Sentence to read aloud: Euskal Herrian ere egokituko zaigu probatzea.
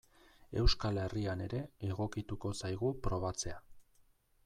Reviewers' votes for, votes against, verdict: 2, 0, accepted